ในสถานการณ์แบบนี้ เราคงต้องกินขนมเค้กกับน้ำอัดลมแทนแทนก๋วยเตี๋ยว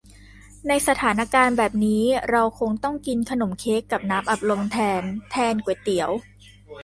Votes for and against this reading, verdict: 2, 0, accepted